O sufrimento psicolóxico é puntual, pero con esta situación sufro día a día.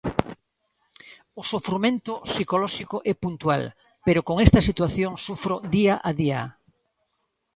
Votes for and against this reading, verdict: 1, 2, rejected